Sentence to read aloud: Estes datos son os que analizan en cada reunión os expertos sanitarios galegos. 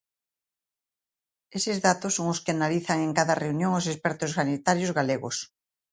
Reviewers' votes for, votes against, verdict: 0, 2, rejected